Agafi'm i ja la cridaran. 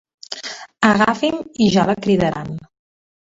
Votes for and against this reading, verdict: 2, 1, accepted